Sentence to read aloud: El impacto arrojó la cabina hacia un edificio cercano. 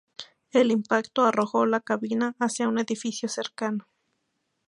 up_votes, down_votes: 2, 0